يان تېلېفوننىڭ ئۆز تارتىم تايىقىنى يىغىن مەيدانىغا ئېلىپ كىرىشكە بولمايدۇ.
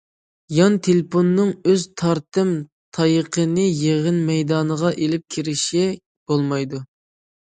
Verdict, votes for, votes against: rejected, 0, 2